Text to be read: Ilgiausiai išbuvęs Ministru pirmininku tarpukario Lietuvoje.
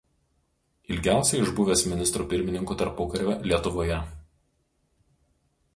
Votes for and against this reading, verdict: 2, 0, accepted